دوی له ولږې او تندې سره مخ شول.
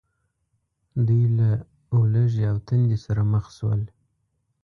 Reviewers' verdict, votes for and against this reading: rejected, 1, 2